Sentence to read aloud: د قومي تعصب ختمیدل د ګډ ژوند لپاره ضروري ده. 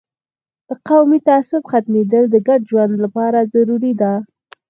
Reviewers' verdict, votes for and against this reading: accepted, 4, 2